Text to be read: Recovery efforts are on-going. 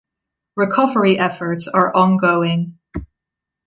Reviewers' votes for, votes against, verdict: 2, 0, accepted